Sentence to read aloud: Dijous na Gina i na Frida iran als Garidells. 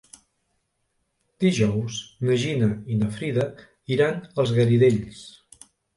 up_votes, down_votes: 1, 2